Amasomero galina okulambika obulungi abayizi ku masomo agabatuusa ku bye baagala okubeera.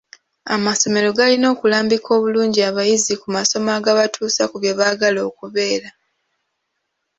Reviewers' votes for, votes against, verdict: 0, 2, rejected